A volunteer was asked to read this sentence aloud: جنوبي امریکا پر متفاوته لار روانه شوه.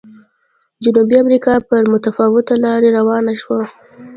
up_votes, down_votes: 2, 0